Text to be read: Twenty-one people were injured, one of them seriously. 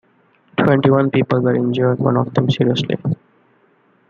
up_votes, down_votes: 2, 0